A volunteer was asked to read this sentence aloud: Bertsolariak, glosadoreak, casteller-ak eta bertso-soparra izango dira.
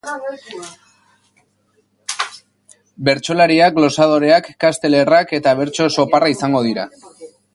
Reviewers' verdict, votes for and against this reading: accepted, 4, 0